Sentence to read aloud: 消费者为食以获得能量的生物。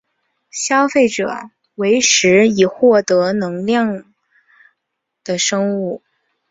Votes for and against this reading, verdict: 2, 0, accepted